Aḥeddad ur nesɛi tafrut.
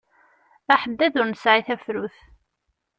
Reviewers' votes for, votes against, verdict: 2, 0, accepted